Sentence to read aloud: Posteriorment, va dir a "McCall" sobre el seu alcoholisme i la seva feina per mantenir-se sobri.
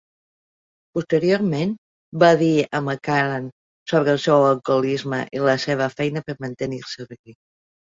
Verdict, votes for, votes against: rejected, 0, 2